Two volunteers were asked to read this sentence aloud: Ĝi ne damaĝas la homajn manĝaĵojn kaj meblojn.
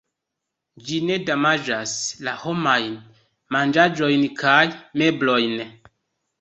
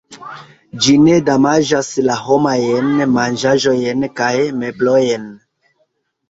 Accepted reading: first